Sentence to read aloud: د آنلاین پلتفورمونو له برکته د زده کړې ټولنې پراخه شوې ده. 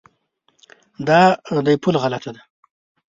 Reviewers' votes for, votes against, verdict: 0, 2, rejected